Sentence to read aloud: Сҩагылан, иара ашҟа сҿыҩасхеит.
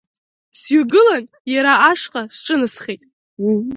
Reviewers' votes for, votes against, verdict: 0, 2, rejected